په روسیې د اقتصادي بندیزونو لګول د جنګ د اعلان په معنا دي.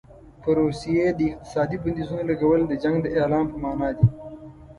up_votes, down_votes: 0, 2